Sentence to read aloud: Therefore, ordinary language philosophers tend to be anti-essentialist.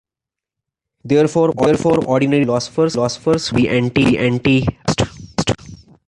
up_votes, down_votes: 0, 2